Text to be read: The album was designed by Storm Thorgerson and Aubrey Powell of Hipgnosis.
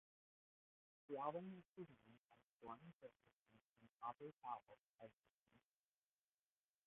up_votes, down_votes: 0, 2